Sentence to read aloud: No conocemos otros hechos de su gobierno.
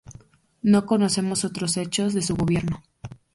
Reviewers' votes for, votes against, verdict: 2, 0, accepted